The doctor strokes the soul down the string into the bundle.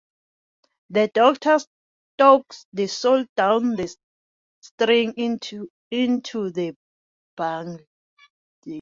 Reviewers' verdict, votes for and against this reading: rejected, 0, 2